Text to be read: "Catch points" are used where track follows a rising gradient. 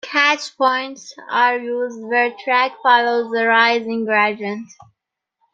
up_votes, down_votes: 2, 0